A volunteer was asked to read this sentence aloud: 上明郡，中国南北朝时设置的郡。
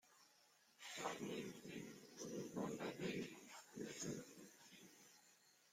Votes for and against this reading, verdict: 0, 2, rejected